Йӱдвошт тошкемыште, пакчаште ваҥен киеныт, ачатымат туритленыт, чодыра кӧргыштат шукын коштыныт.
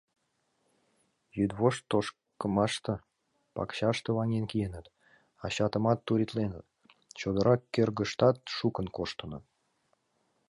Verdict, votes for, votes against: rejected, 1, 2